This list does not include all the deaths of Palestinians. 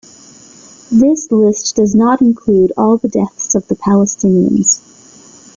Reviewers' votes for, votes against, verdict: 0, 2, rejected